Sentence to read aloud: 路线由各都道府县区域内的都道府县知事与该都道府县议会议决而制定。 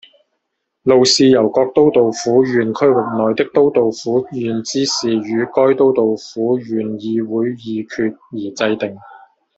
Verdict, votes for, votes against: rejected, 0, 2